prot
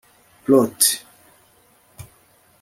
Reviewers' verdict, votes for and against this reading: rejected, 1, 2